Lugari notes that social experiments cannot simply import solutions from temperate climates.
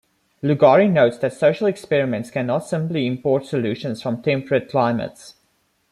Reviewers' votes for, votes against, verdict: 1, 2, rejected